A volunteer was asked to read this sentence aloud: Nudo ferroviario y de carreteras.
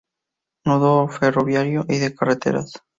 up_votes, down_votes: 2, 0